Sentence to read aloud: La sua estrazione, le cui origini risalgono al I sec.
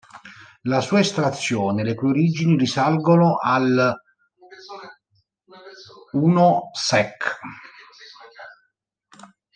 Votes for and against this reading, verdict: 0, 2, rejected